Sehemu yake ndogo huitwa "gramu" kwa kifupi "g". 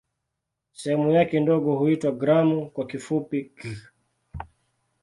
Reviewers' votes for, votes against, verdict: 0, 2, rejected